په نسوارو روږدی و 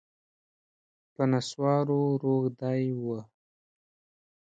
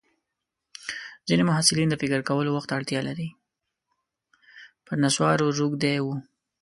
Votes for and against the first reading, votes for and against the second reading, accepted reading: 2, 0, 0, 2, first